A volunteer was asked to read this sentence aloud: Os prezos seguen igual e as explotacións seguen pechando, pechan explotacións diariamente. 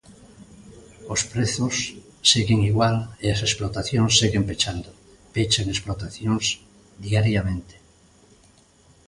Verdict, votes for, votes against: accepted, 2, 0